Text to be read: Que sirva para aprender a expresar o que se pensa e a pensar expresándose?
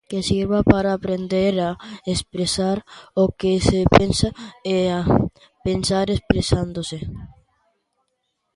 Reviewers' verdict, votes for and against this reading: accepted, 2, 0